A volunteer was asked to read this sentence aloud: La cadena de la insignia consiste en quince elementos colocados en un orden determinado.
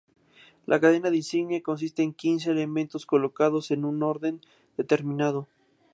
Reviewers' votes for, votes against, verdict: 2, 0, accepted